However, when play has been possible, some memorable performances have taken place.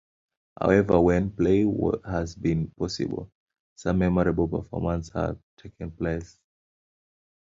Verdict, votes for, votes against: rejected, 1, 2